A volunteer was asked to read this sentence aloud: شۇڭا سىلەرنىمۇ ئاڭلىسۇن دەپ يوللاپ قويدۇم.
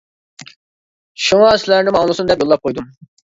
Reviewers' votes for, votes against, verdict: 2, 0, accepted